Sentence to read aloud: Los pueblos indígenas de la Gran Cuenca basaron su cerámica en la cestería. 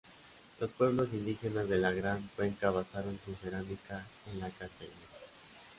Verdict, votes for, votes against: rejected, 0, 2